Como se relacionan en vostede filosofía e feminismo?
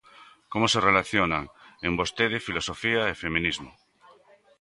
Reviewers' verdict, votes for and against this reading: accepted, 2, 0